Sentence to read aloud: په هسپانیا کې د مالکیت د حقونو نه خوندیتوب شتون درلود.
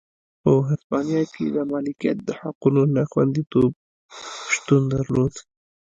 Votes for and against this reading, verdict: 0, 2, rejected